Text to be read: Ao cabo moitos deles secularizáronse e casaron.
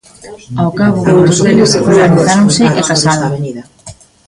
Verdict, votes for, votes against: rejected, 0, 2